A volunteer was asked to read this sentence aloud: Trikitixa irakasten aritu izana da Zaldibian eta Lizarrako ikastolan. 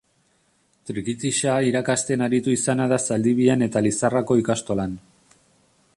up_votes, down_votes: 2, 0